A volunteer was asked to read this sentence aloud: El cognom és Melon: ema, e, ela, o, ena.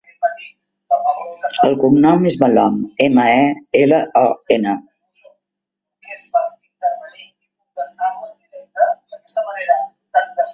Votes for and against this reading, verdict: 0, 2, rejected